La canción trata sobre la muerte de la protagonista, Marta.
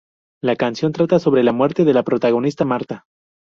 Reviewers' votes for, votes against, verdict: 2, 0, accepted